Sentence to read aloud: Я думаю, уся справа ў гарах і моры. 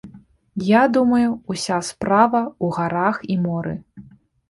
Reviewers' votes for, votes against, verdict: 2, 1, accepted